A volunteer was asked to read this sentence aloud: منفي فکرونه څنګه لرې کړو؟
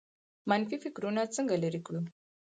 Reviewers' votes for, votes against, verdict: 2, 4, rejected